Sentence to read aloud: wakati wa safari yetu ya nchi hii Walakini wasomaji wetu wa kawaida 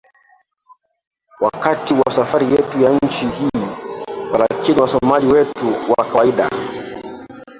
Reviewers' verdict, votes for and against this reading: rejected, 1, 2